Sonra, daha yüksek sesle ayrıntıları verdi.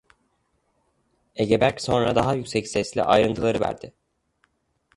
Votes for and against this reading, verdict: 0, 2, rejected